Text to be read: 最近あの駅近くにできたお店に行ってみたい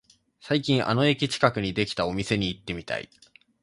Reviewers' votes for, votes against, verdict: 2, 0, accepted